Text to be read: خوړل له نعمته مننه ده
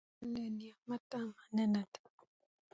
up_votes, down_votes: 0, 2